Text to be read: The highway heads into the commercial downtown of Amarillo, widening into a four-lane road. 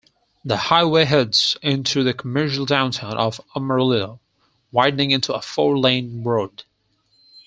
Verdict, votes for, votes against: accepted, 4, 0